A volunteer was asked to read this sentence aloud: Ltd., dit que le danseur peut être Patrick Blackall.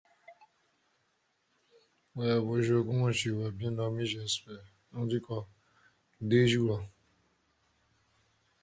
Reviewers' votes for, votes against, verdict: 0, 2, rejected